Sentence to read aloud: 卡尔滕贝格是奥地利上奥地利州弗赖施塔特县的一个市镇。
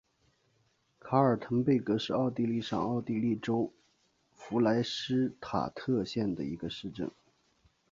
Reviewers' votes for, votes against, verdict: 2, 1, accepted